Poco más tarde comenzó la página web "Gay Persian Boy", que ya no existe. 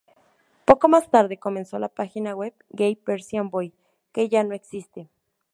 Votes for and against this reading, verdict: 4, 0, accepted